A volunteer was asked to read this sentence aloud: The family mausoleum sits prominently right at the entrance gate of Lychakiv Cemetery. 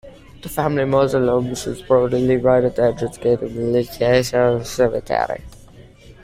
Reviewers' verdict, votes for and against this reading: rejected, 0, 2